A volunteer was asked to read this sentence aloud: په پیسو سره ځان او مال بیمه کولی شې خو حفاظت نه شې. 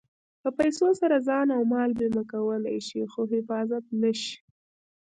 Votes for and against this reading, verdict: 0, 2, rejected